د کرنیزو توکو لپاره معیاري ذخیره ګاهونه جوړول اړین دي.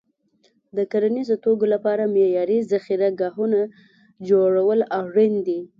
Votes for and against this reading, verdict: 2, 1, accepted